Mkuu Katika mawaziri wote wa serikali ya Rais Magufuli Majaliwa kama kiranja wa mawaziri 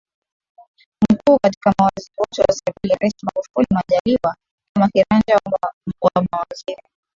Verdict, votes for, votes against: accepted, 3, 0